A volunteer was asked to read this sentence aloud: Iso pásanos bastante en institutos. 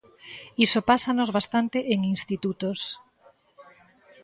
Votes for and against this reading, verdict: 2, 0, accepted